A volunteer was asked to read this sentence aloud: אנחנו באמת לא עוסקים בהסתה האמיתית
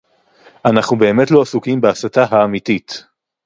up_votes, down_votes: 0, 2